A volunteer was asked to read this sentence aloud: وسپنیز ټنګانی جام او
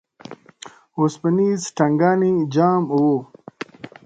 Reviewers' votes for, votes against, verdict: 0, 2, rejected